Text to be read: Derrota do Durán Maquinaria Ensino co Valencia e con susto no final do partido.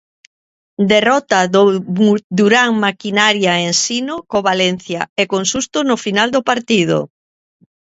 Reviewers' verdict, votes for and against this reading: rejected, 0, 2